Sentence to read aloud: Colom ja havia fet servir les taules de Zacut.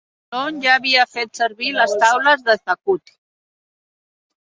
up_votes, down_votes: 0, 2